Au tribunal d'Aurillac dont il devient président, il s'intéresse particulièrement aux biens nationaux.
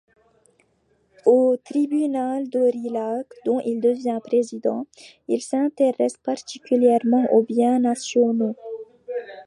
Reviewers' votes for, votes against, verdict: 2, 1, accepted